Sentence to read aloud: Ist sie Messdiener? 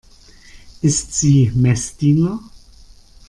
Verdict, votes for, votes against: accepted, 2, 0